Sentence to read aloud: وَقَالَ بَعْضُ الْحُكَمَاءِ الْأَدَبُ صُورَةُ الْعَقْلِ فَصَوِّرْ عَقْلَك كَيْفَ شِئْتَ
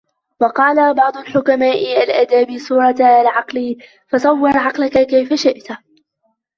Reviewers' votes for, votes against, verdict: 1, 2, rejected